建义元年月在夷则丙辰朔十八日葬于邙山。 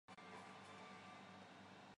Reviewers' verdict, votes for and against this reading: rejected, 1, 2